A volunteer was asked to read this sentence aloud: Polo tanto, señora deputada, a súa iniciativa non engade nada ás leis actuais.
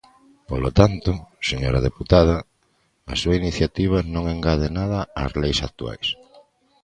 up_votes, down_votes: 2, 0